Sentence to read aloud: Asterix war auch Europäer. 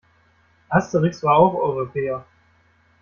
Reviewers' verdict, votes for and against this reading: rejected, 1, 2